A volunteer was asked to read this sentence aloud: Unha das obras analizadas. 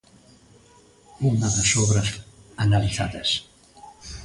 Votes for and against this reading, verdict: 2, 0, accepted